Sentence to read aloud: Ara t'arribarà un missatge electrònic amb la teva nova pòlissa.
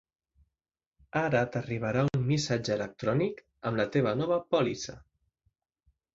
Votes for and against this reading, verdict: 3, 0, accepted